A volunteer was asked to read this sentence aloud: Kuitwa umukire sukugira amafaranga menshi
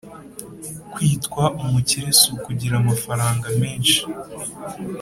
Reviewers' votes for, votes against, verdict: 3, 0, accepted